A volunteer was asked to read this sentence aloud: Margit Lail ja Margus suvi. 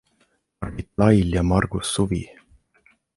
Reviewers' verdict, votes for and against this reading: accepted, 2, 0